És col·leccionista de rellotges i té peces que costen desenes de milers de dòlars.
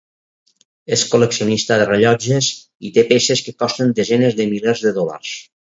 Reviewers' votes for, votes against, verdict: 4, 0, accepted